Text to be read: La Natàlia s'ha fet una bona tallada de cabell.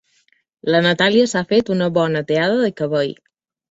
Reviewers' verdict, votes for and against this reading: accepted, 2, 0